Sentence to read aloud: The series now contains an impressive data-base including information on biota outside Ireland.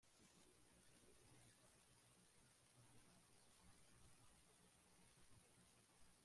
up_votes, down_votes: 0, 2